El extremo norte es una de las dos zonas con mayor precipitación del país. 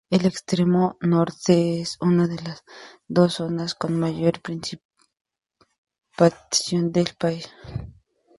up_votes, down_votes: 0, 2